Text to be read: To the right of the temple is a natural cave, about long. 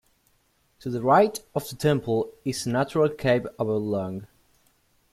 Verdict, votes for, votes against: rejected, 1, 2